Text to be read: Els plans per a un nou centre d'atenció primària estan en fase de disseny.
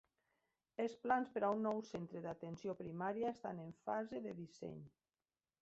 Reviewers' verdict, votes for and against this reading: accepted, 3, 0